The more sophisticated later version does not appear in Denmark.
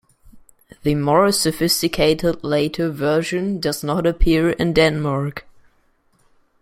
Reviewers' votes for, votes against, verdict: 2, 0, accepted